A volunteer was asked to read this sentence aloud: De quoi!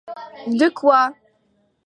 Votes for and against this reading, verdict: 2, 0, accepted